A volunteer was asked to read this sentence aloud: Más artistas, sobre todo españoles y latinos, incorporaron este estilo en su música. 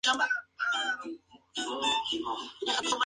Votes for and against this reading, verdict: 2, 0, accepted